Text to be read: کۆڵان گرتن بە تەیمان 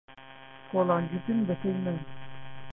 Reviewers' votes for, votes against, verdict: 0, 2, rejected